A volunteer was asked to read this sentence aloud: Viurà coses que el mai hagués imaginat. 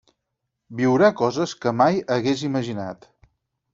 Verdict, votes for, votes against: rejected, 2, 4